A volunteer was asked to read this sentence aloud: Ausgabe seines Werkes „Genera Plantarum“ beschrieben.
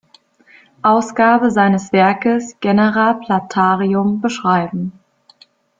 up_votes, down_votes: 0, 2